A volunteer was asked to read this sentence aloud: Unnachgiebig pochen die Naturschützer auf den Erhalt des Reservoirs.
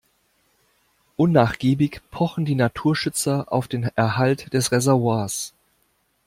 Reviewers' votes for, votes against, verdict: 2, 0, accepted